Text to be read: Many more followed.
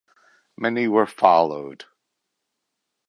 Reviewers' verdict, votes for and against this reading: rejected, 0, 2